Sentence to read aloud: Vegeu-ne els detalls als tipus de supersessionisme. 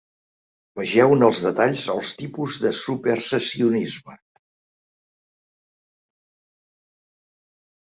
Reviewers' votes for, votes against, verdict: 4, 0, accepted